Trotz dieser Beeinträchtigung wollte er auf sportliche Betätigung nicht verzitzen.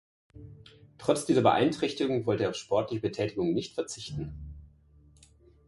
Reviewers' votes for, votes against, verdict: 0, 2, rejected